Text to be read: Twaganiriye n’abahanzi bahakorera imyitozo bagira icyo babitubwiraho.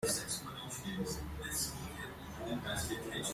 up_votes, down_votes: 0, 2